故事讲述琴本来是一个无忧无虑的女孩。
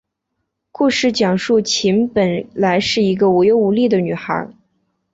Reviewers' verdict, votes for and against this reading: accepted, 2, 0